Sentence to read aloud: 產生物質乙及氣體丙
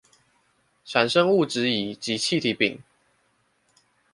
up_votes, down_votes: 2, 0